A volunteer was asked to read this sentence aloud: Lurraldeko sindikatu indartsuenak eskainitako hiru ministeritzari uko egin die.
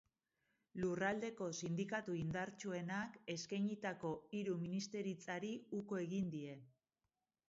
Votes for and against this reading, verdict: 1, 2, rejected